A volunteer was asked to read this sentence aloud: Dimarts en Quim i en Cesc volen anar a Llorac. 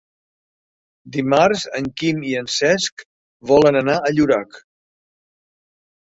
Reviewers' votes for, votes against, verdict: 3, 0, accepted